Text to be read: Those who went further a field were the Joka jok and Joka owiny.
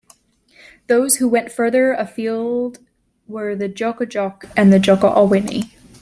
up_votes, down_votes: 1, 2